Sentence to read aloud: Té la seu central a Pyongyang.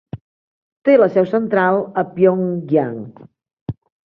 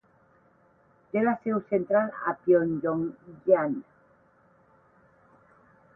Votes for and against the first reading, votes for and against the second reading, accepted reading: 3, 1, 4, 8, first